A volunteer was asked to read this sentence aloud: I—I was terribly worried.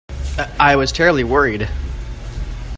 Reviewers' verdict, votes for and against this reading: accepted, 3, 0